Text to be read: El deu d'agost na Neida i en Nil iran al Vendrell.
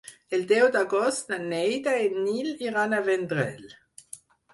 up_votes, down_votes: 2, 4